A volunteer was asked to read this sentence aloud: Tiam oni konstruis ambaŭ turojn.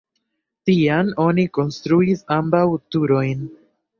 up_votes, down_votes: 2, 0